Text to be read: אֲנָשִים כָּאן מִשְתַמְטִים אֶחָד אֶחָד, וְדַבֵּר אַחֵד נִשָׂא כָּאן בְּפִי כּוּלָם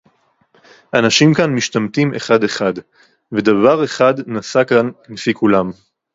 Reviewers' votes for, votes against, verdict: 2, 2, rejected